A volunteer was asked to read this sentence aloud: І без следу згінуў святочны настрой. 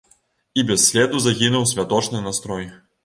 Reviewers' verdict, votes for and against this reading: rejected, 1, 2